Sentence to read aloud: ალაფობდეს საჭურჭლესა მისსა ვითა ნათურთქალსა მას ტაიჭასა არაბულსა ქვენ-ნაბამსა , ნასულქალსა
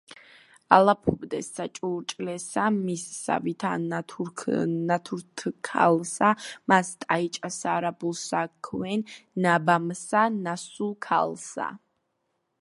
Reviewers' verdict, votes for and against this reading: rejected, 0, 2